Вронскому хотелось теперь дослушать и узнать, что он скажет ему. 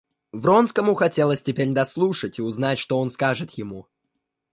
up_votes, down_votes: 2, 0